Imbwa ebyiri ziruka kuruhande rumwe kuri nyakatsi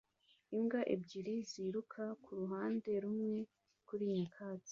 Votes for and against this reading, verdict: 2, 0, accepted